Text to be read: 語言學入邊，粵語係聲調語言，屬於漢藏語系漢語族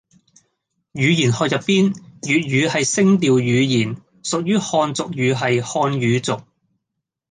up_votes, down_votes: 0, 2